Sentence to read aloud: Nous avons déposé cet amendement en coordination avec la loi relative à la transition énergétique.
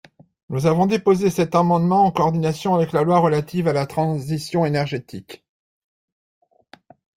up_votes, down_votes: 2, 0